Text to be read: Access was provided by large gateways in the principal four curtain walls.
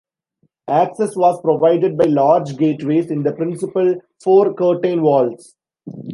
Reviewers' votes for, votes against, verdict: 2, 1, accepted